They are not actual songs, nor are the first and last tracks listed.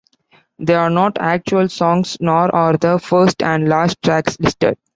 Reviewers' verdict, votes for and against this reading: accepted, 2, 0